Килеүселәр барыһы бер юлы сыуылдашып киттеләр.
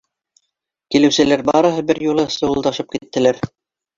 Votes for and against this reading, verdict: 2, 1, accepted